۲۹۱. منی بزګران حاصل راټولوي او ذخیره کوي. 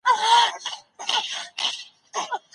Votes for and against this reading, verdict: 0, 2, rejected